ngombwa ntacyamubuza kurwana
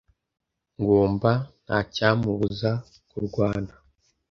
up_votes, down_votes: 1, 2